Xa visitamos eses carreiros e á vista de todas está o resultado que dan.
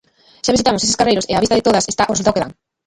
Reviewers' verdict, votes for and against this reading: rejected, 0, 2